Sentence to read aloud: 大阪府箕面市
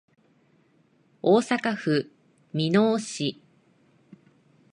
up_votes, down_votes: 3, 0